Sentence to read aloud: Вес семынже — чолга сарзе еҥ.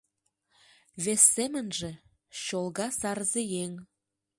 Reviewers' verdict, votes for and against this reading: accepted, 2, 0